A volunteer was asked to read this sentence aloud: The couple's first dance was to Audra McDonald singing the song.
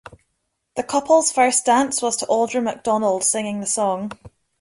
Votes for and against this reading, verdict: 2, 0, accepted